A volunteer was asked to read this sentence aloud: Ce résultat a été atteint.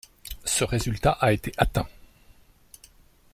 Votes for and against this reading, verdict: 2, 0, accepted